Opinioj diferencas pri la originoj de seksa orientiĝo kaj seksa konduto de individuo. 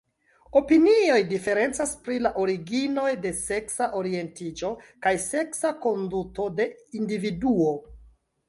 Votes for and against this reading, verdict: 2, 1, accepted